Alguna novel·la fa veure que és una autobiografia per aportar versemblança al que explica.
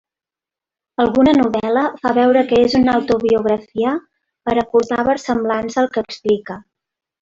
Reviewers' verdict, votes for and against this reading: accepted, 2, 0